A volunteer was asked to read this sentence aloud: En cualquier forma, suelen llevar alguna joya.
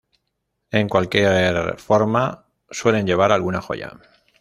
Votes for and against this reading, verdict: 0, 2, rejected